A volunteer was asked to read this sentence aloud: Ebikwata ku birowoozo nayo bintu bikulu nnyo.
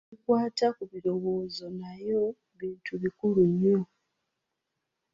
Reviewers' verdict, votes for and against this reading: rejected, 1, 2